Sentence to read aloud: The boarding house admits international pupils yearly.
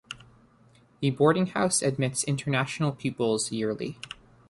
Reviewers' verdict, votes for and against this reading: accepted, 2, 0